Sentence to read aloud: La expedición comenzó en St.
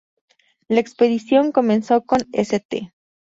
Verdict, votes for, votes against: rejected, 0, 2